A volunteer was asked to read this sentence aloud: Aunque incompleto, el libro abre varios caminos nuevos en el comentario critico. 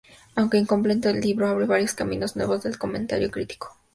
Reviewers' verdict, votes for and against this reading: rejected, 0, 4